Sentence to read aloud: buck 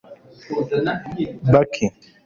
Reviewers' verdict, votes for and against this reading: rejected, 0, 2